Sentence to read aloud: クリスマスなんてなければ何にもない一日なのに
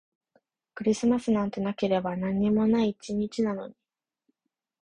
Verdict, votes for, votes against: accepted, 2, 0